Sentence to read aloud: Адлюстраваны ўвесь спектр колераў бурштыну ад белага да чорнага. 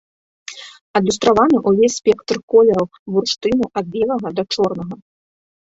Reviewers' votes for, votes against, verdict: 0, 3, rejected